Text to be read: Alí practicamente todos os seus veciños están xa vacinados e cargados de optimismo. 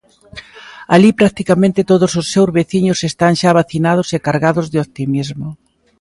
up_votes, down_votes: 2, 0